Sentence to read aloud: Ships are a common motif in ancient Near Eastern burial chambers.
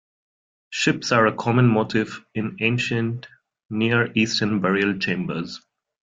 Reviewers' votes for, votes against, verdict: 1, 2, rejected